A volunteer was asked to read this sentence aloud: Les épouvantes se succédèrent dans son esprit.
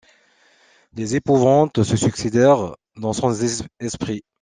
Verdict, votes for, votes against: rejected, 1, 2